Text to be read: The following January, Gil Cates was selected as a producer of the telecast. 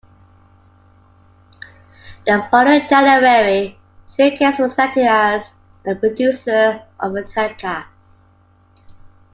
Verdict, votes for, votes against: accepted, 2, 1